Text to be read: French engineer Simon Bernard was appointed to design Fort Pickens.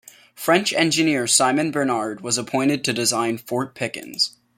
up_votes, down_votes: 2, 0